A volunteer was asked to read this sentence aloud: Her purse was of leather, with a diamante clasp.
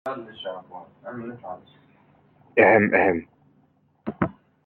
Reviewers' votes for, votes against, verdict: 0, 2, rejected